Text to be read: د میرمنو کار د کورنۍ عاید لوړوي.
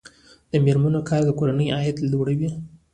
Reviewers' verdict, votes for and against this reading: rejected, 1, 2